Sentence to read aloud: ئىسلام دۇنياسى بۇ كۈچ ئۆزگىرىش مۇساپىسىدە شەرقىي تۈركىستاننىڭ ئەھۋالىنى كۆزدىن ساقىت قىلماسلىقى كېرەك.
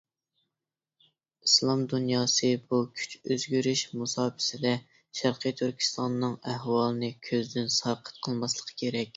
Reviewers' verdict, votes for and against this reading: accepted, 2, 0